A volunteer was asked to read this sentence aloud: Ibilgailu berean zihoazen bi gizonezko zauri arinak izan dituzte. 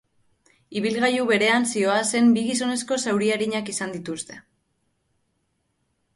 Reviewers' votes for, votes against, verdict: 2, 0, accepted